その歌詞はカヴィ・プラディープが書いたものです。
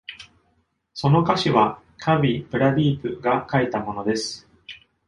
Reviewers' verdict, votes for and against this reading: accepted, 2, 0